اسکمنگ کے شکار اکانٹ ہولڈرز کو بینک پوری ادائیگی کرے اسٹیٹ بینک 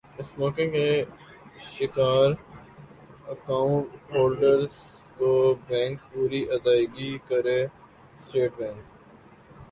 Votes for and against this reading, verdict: 1, 2, rejected